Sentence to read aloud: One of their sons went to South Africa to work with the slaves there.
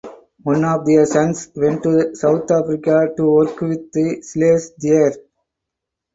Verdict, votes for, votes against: accepted, 4, 2